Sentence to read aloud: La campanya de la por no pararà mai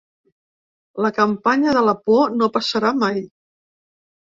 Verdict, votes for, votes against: rejected, 0, 4